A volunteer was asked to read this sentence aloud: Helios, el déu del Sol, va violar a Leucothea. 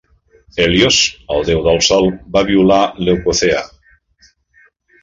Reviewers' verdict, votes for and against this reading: rejected, 0, 2